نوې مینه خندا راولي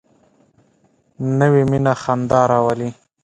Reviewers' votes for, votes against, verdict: 2, 0, accepted